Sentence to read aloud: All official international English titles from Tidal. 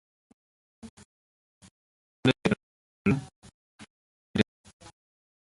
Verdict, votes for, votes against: rejected, 0, 2